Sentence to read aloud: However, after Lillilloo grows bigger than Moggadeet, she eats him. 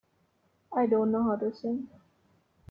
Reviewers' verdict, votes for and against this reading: rejected, 0, 2